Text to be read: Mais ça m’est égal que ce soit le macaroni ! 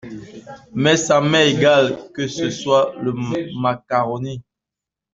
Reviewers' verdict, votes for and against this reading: rejected, 0, 2